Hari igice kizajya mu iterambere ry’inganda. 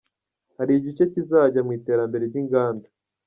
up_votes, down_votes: 2, 0